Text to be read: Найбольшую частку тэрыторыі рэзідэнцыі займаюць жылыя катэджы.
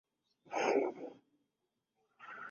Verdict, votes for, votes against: rejected, 0, 2